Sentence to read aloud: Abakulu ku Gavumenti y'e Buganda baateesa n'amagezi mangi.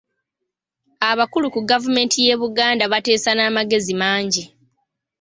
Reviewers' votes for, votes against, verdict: 0, 2, rejected